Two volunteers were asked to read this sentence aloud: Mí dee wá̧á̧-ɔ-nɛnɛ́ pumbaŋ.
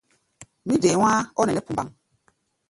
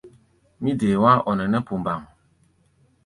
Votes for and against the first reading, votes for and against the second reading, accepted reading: 1, 2, 2, 0, second